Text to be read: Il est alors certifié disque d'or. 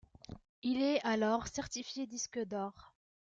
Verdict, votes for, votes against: rejected, 1, 2